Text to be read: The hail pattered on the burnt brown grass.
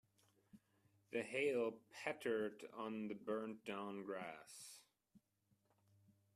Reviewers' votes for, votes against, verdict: 2, 1, accepted